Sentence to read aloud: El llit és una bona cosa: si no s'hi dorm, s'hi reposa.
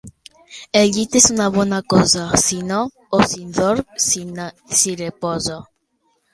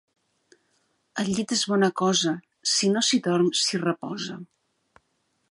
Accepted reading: first